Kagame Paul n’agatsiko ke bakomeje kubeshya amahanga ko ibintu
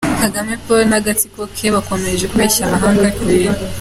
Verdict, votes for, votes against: accepted, 3, 0